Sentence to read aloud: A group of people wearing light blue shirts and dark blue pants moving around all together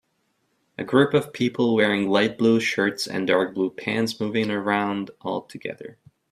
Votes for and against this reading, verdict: 3, 0, accepted